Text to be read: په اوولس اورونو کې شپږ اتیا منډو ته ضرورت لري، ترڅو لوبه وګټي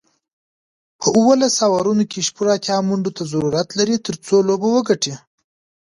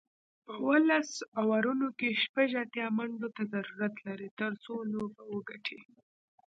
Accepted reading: first